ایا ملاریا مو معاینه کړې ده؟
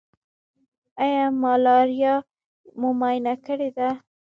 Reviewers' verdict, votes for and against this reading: rejected, 1, 2